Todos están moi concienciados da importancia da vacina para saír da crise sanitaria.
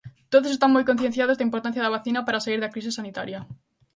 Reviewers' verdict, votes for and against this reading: accepted, 2, 0